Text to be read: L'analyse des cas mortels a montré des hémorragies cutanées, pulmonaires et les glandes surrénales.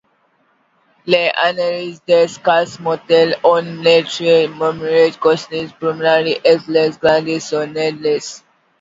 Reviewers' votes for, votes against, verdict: 2, 1, accepted